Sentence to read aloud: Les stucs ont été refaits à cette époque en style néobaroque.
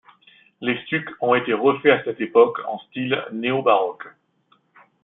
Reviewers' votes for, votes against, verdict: 2, 0, accepted